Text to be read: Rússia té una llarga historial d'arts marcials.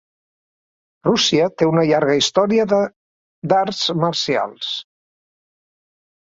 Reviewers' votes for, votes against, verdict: 1, 3, rejected